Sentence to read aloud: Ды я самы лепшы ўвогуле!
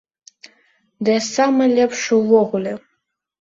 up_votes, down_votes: 2, 0